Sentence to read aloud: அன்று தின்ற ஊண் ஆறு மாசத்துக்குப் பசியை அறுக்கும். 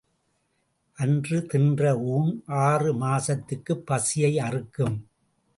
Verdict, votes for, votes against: accepted, 2, 0